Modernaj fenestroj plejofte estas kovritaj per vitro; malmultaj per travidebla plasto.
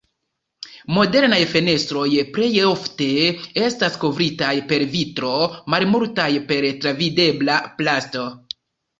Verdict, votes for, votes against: accepted, 2, 0